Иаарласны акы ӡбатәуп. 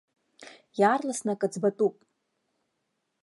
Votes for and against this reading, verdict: 2, 0, accepted